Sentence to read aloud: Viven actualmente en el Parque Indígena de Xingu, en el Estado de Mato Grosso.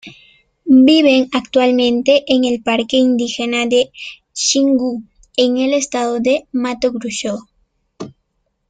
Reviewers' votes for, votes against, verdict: 2, 0, accepted